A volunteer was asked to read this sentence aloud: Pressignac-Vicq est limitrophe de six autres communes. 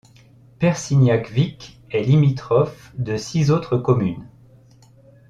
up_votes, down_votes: 1, 2